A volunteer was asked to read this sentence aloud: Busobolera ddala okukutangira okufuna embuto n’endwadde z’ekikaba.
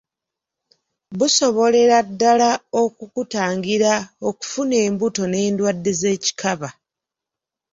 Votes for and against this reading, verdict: 3, 0, accepted